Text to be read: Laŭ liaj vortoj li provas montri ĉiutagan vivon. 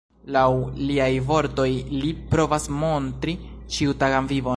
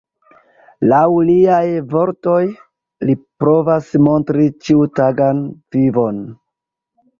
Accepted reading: second